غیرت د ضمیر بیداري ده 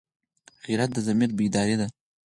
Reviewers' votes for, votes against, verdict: 4, 0, accepted